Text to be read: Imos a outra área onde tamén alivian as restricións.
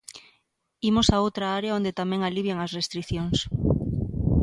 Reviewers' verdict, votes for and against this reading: accepted, 2, 0